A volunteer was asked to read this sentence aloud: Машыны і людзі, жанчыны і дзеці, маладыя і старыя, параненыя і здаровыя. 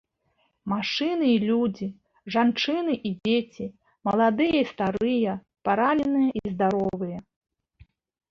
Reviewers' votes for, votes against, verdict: 1, 2, rejected